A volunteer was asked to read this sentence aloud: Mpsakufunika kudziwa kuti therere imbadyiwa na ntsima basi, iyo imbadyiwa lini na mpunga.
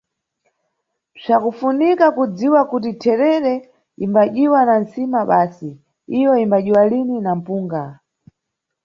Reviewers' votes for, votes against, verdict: 2, 0, accepted